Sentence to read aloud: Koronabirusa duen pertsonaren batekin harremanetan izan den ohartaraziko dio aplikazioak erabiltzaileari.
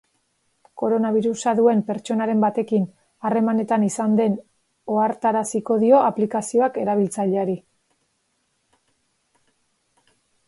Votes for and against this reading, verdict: 2, 0, accepted